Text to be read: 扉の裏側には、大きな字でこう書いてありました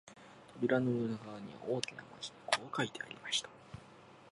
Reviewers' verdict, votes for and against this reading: rejected, 0, 2